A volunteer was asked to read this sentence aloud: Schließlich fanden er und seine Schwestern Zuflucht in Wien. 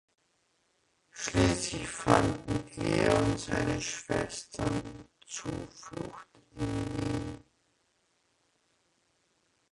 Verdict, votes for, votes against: rejected, 0, 2